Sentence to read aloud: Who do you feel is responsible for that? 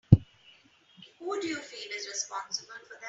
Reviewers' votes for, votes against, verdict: 0, 2, rejected